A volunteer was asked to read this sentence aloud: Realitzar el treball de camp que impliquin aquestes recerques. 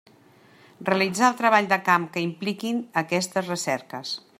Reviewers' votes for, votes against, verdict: 3, 0, accepted